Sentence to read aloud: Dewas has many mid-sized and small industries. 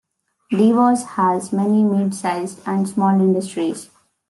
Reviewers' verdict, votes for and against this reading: rejected, 1, 2